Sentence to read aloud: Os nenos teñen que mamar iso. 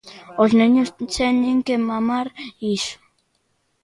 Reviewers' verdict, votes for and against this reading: rejected, 1, 2